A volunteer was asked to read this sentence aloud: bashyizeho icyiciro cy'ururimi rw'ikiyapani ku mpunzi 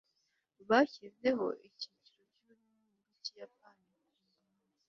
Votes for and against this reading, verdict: 1, 2, rejected